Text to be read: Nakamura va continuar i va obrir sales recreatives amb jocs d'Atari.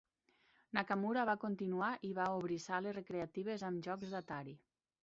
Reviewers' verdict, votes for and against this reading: accepted, 3, 1